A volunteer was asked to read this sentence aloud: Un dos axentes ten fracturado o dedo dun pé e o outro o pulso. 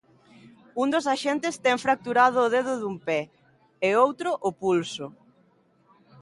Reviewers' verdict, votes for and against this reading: accepted, 2, 0